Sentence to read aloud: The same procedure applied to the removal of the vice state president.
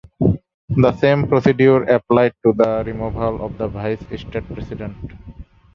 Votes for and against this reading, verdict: 1, 2, rejected